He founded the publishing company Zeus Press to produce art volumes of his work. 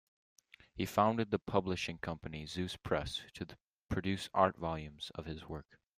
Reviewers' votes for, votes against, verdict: 2, 0, accepted